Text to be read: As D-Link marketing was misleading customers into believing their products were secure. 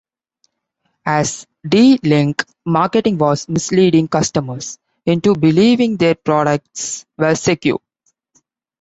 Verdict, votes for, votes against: accepted, 2, 0